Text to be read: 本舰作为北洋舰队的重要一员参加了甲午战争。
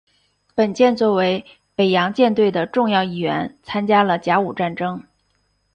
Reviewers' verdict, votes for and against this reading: accepted, 2, 0